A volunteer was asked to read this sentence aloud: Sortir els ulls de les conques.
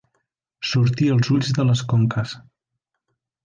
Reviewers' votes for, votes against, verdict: 2, 0, accepted